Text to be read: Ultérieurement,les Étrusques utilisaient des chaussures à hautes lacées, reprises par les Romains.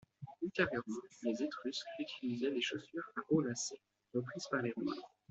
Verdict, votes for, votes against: rejected, 1, 2